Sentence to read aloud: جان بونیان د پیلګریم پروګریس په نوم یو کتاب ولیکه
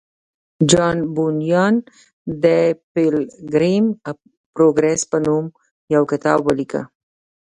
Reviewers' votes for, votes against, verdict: 2, 1, accepted